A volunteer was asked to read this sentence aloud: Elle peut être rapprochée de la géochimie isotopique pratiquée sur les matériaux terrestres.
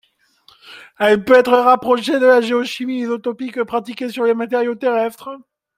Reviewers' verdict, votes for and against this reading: accepted, 2, 1